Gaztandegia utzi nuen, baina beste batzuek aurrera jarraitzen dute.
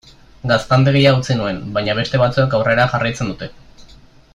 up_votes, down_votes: 2, 0